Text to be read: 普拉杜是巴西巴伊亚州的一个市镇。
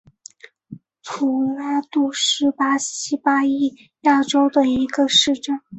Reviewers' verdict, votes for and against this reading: accepted, 2, 0